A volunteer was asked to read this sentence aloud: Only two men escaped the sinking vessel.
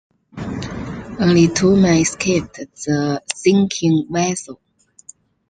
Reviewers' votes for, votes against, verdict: 2, 0, accepted